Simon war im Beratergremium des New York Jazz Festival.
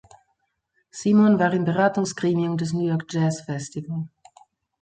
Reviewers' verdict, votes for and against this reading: rejected, 0, 2